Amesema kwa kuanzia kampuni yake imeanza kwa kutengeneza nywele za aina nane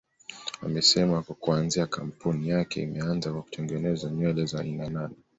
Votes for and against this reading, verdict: 2, 0, accepted